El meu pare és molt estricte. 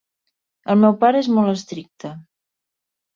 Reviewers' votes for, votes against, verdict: 2, 0, accepted